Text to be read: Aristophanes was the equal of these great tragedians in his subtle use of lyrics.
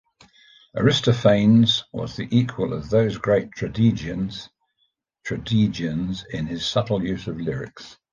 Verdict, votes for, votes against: rejected, 0, 2